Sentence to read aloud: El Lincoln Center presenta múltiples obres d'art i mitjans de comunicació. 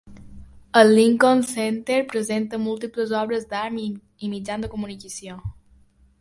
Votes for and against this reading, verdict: 2, 0, accepted